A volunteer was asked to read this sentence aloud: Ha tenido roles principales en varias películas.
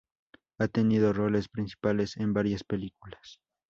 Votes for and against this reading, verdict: 4, 0, accepted